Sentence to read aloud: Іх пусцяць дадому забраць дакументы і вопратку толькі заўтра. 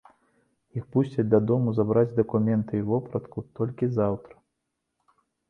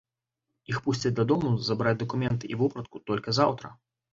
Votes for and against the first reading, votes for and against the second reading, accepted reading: 2, 0, 1, 2, first